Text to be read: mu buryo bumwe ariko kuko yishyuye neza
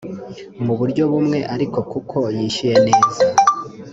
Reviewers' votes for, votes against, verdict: 2, 0, accepted